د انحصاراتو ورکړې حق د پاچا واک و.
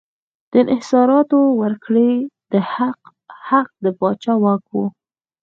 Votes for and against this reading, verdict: 4, 0, accepted